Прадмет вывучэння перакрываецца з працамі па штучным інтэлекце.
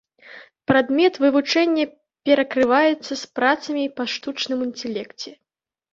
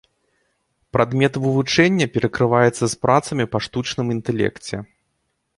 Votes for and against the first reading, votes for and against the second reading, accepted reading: 0, 2, 2, 0, second